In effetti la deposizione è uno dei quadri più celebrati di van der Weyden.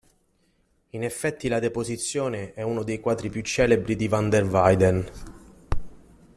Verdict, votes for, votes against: rejected, 1, 2